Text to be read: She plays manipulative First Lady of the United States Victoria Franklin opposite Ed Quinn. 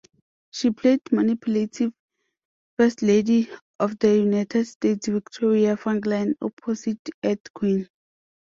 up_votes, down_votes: 1, 2